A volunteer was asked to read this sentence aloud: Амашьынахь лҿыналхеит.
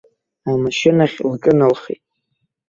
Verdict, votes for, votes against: rejected, 0, 2